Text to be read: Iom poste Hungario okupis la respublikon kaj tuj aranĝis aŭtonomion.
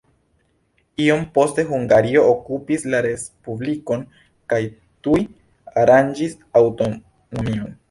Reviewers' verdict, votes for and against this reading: accepted, 2, 0